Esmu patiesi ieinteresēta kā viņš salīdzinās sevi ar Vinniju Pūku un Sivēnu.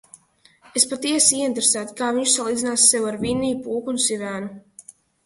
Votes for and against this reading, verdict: 0, 2, rejected